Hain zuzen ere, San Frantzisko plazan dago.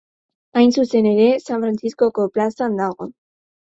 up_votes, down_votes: 4, 8